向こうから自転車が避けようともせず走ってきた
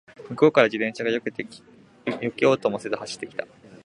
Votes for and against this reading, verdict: 1, 2, rejected